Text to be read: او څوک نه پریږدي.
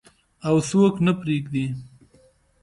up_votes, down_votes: 2, 0